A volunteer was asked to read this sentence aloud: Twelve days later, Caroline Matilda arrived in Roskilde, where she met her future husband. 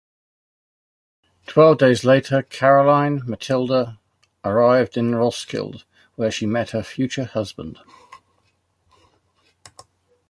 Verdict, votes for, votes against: accepted, 3, 0